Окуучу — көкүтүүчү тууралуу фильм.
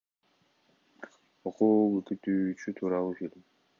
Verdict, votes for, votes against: accepted, 2, 0